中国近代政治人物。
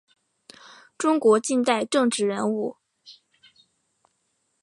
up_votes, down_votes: 4, 0